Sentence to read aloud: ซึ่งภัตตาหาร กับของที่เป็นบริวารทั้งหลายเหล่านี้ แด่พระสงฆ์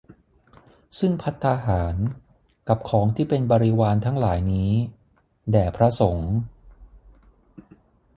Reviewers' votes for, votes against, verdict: 3, 6, rejected